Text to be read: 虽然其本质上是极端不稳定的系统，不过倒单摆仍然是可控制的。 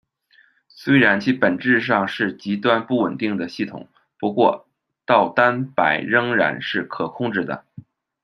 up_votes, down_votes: 2, 1